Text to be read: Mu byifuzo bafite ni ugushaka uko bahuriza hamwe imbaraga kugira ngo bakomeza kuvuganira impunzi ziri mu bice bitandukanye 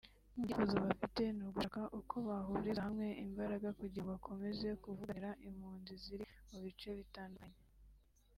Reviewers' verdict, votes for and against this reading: rejected, 2, 3